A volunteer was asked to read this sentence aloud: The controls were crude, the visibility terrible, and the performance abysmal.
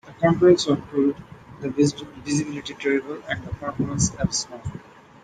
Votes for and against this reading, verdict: 0, 2, rejected